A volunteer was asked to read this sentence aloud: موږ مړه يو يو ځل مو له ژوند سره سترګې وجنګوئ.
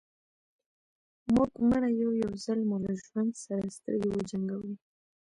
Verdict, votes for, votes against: accepted, 2, 0